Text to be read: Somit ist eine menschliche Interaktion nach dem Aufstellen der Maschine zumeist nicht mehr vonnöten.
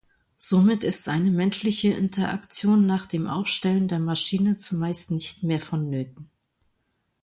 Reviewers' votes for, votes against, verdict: 2, 0, accepted